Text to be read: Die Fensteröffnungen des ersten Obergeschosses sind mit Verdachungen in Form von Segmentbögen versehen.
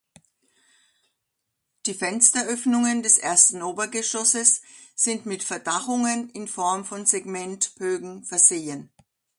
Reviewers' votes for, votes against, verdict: 2, 0, accepted